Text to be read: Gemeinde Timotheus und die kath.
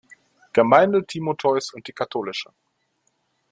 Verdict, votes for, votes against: rejected, 1, 2